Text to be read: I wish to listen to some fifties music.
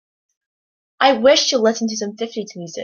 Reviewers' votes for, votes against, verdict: 2, 1, accepted